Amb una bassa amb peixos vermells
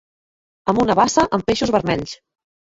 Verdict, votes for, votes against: accepted, 2, 0